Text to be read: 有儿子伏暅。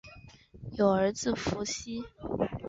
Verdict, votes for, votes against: rejected, 1, 5